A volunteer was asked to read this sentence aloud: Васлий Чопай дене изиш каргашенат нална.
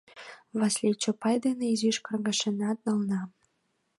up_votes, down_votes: 2, 0